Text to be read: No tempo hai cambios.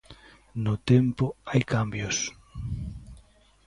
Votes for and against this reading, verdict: 2, 0, accepted